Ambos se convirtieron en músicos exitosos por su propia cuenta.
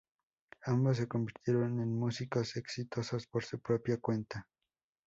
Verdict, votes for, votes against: accepted, 2, 0